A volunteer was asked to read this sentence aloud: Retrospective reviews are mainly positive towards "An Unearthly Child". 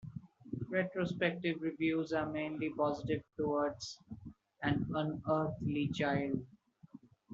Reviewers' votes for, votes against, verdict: 2, 0, accepted